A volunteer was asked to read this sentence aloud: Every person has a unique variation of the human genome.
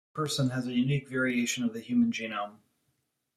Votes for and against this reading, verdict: 1, 2, rejected